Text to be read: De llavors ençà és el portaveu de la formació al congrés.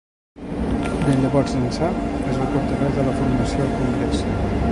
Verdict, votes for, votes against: rejected, 2, 3